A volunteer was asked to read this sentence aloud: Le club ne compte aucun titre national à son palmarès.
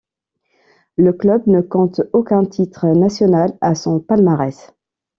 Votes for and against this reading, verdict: 2, 0, accepted